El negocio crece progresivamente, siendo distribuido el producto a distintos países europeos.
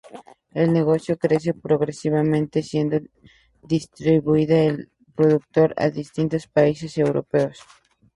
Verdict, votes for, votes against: rejected, 2, 2